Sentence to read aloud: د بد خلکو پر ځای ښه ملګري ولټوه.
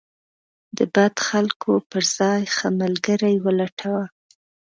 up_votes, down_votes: 2, 0